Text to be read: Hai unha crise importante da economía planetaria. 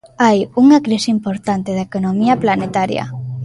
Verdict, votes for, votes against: accepted, 2, 1